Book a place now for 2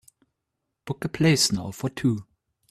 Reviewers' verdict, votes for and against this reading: rejected, 0, 2